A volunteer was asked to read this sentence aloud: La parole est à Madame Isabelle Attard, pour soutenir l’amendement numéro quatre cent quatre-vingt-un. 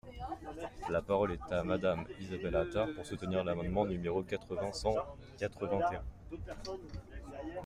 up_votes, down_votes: 1, 2